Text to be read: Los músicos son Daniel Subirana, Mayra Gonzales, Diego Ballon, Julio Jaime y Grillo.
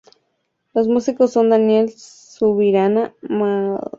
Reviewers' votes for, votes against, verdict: 0, 2, rejected